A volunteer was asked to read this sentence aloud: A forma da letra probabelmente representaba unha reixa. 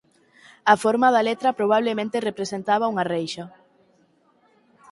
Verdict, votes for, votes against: rejected, 2, 4